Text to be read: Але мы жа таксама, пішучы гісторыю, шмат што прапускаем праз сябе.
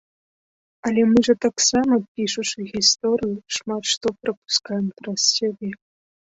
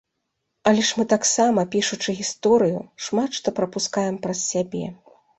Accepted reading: first